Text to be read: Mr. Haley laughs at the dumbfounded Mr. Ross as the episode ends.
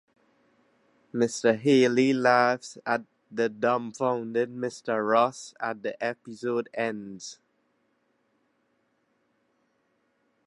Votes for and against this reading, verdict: 0, 2, rejected